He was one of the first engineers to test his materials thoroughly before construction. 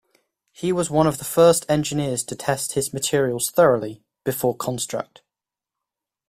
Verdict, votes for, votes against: rejected, 1, 2